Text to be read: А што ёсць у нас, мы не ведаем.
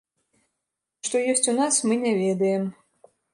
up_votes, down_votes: 0, 2